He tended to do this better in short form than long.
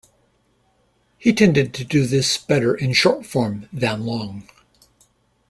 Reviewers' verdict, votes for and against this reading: accepted, 2, 0